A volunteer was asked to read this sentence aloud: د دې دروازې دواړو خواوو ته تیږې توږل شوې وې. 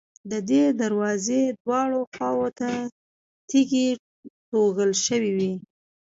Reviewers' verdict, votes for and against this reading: accepted, 3, 0